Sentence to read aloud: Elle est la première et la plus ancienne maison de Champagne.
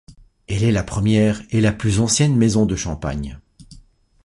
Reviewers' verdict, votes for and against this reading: accepted, 2, 0